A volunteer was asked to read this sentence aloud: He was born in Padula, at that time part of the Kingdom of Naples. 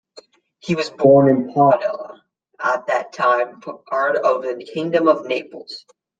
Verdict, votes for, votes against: rejected, 0, 2